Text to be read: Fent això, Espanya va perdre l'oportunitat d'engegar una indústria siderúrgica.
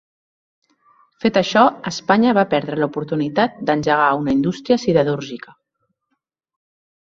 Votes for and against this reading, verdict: 1, 2, rejected